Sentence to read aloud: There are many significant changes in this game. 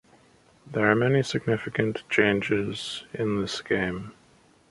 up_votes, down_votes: 2, 0